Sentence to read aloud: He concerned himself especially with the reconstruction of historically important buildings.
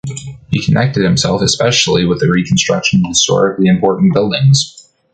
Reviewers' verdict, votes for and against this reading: rejected, 2, 3